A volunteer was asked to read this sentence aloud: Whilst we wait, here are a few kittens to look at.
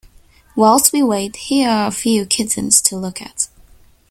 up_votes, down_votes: 2, 0